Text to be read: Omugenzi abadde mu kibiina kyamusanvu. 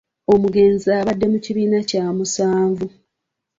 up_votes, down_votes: 2, 0